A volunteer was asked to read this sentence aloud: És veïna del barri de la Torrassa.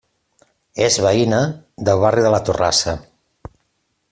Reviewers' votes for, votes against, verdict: 2, 0, accepted